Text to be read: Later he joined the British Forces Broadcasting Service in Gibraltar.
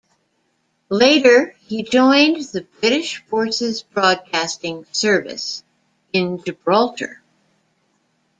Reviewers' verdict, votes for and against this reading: accepted, 2, 0